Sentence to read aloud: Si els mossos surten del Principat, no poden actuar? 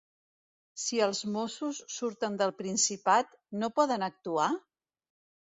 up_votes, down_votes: 3, 0